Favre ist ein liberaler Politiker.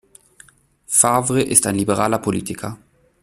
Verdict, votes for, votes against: accepted, 2, 0